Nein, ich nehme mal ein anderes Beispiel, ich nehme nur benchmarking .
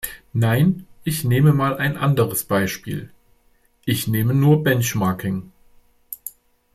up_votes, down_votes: 2, 0